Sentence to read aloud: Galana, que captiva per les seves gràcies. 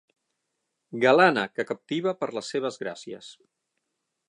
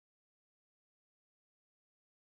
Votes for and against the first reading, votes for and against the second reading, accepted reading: 9, 0, 1, 3, first